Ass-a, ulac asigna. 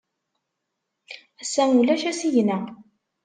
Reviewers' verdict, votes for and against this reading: accepted, 2, 0